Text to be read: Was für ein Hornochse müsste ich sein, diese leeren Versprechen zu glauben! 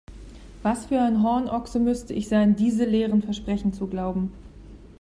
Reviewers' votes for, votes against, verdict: 2, 0, accepted